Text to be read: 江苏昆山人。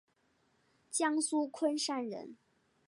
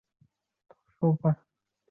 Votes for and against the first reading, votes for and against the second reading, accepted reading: 2, 0, 0, 5, first